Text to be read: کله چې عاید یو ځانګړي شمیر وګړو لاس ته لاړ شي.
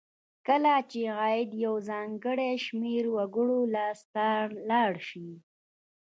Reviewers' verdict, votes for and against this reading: rejected, 1, 2